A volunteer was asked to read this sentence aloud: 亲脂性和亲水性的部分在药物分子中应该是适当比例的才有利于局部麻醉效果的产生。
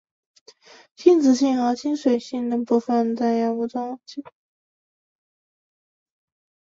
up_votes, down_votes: 0, 4